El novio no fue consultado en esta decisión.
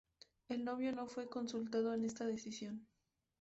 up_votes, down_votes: 4, 0